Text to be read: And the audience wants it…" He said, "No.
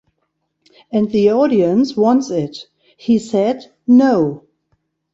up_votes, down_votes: 0, 2